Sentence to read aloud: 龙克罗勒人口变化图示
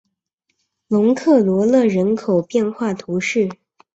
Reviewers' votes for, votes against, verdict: 2, 0, accepted